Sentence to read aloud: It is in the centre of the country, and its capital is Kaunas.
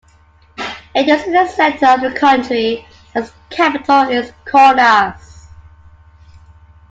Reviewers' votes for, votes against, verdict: 2, 1, accepted